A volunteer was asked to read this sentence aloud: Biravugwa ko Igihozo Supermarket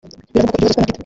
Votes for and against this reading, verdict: 0, 2, rejected